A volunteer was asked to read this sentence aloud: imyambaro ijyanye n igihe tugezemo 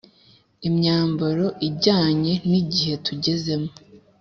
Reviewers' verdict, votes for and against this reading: accepted, 2, 0